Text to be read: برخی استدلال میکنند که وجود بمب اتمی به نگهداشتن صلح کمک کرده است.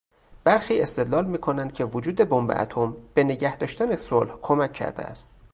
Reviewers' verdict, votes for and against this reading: rejected, 2, 2